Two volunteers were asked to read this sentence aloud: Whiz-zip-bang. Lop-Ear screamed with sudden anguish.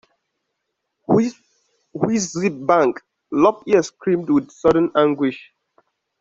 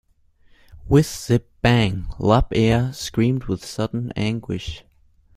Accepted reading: second